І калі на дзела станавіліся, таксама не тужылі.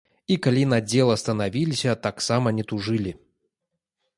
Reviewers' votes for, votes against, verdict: 2, 0, accepted